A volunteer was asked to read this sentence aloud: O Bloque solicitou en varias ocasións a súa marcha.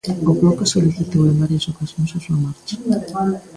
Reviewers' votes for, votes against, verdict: 0, 2, rejected